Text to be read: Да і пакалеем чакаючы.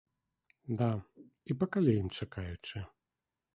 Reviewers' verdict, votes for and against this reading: accepted, 2, 0